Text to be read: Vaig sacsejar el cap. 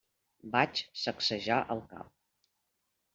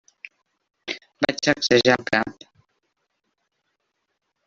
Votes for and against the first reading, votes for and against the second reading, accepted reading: 3, 0, 1, 2, first